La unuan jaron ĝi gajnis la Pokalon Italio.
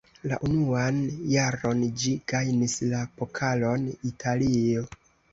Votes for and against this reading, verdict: 2, 1, accepted